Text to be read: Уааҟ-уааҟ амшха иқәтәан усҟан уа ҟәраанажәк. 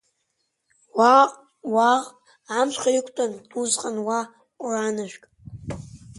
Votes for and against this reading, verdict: 2, 0, accepted